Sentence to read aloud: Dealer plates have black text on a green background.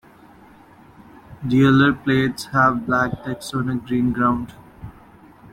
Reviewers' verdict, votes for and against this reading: rejected, 0, 2